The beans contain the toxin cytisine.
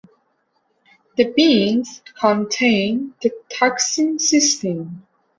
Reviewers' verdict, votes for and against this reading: rejected, 1, 2